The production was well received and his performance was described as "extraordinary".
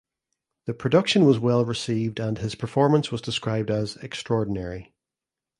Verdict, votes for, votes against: accepted, 2, 0